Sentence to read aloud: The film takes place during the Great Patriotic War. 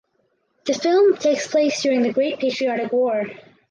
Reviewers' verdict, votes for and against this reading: accepted, 4, 0